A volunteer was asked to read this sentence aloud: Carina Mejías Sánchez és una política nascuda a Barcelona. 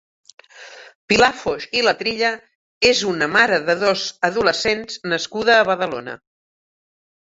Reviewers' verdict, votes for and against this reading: rejected, 0, 2